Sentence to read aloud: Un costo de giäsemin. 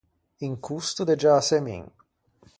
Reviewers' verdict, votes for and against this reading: accepted, 4, 0